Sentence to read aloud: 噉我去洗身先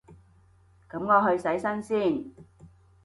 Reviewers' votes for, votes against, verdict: 2, 0, accepted